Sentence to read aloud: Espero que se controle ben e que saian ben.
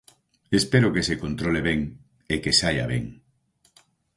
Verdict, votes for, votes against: rejected, 0, 4